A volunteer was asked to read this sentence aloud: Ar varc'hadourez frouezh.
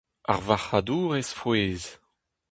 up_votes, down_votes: 2, 0